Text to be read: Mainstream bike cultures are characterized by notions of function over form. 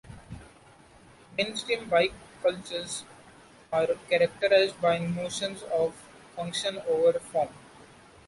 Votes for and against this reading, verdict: 0, 2, rejected